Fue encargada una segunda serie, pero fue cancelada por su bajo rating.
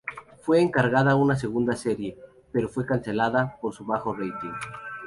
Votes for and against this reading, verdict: 4, 2, accepted